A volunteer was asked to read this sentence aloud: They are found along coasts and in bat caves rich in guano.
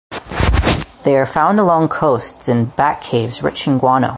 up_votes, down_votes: 4, 2